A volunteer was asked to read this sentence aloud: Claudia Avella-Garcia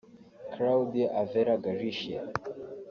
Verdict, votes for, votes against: rejected, 1, 2